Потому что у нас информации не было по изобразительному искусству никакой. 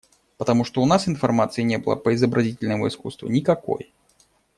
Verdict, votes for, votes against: accepted, 2, 0